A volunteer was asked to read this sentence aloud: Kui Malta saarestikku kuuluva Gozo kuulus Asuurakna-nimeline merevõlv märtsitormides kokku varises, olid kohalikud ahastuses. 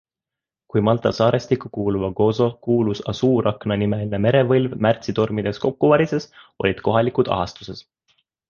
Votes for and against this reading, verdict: 2, 0, accepted